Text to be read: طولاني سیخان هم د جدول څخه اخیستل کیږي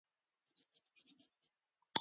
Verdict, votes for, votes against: rejected, 0, 2